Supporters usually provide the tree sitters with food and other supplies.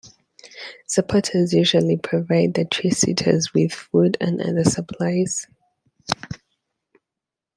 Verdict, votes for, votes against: accepted, 2, 0